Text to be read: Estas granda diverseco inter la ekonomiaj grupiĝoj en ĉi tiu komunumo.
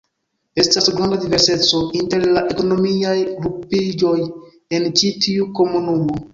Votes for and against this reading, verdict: 1, 2, rejected